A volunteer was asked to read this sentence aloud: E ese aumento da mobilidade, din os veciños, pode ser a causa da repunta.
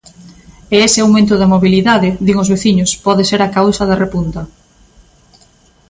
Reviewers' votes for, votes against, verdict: 2, 0, accepted